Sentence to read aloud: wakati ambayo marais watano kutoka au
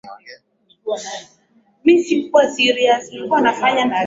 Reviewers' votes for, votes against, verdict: 0, 3, rejected